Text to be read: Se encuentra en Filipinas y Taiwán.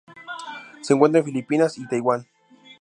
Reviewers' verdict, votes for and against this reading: accepted, 2, 0